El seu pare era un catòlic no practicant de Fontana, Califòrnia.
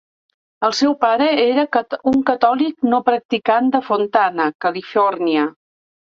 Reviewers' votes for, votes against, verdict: 1, 2, rejected